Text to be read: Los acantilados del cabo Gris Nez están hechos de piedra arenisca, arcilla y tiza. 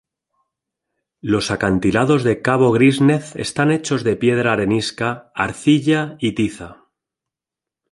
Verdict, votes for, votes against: accepted, 3, 0